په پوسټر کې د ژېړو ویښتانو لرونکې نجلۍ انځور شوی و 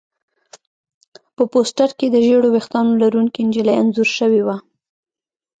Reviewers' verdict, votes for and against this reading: accepted, 2, 1